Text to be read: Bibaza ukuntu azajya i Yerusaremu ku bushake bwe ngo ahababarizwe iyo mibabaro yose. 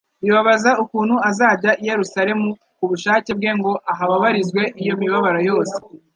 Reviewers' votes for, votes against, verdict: 1, 2, rejected